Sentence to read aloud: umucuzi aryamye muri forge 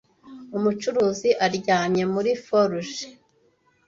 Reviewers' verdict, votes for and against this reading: rejected, 1, 2